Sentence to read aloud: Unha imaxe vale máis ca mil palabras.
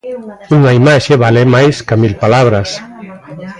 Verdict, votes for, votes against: accepted, 2, 1